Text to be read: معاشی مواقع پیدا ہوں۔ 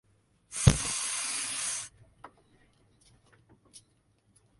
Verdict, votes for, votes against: rejected, 0, 2